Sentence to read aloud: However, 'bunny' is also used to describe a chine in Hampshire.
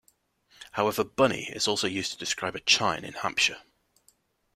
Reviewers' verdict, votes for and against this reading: accepted, 2, 0